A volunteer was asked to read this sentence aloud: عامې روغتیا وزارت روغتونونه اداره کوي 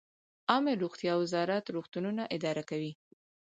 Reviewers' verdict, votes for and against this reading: accepted, 4, 0